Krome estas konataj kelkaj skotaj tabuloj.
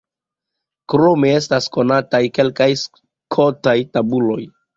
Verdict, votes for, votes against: accepted, 2, 0